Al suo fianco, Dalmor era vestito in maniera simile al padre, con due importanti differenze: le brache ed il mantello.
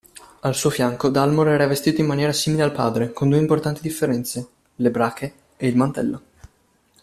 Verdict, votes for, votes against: accepted, 2, 0